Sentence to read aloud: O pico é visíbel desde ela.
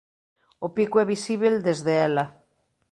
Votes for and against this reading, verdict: 2, 0, accepted